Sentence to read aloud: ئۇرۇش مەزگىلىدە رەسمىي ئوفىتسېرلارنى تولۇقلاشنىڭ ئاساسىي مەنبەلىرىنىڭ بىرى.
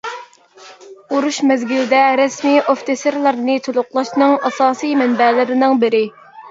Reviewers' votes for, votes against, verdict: 1, 2, rejected